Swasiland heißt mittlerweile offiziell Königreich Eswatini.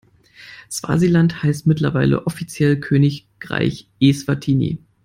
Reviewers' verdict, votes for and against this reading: rejected, 0, 2